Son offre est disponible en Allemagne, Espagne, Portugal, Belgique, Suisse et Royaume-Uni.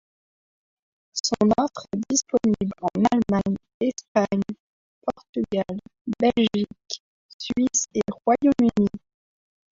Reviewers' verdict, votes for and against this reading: rejected, 1, 2